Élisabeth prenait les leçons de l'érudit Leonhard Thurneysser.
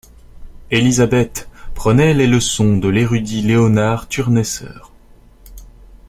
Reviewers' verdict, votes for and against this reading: rejected, 1, 2